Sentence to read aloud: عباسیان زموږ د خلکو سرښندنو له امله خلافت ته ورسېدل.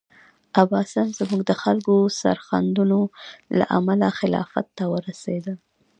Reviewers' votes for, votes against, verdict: 1, 2, rejected